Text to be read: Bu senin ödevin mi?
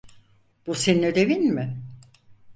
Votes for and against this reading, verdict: 4, 0, accepted